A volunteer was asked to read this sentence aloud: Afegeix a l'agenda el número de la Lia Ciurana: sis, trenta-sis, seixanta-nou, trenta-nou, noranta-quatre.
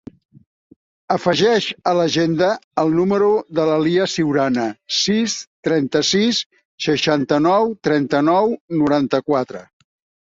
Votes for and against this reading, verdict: 2, 0, accepted